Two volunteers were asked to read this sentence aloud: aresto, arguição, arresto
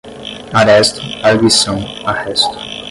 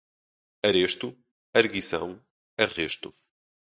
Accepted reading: second